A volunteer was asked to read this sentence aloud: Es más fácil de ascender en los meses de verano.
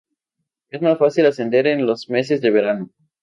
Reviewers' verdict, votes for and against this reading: rejected, 0, 2